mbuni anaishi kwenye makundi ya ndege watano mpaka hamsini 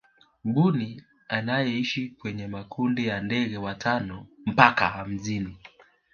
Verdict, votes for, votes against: rejected, 0, 2